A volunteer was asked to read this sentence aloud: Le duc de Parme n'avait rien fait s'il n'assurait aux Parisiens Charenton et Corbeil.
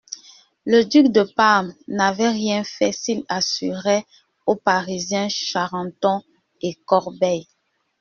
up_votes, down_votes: 1, 2